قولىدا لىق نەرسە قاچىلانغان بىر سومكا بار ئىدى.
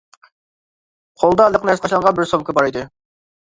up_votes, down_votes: 1, 2